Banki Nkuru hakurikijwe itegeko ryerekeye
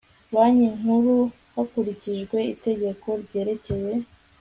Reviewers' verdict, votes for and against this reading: accepted, 2, 0